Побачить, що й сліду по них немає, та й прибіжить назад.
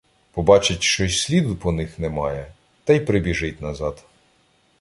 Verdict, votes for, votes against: accepted, 2, 0